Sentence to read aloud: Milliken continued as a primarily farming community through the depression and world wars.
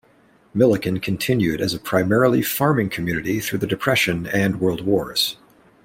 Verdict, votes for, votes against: accepted, 2, 0